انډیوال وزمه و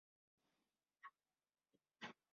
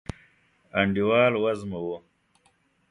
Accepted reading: second